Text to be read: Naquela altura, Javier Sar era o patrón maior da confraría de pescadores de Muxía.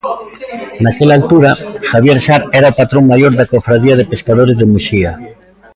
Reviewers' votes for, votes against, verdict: 0, 2, rejected